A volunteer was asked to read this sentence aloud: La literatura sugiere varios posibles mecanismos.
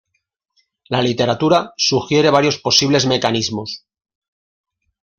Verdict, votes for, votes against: accepted, 2, 0